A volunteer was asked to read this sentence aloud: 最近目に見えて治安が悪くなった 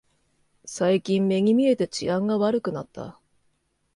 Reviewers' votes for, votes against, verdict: 2, 0, accepted